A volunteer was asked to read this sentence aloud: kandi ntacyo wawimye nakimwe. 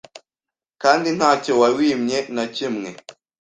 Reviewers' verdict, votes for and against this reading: accepted, 2, 0